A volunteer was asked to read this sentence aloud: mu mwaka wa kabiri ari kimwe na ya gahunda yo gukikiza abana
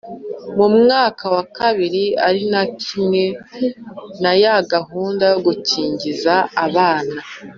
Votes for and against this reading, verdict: 2, 0, accepted